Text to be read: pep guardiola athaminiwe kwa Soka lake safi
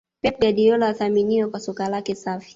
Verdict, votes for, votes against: rejected, 0, 2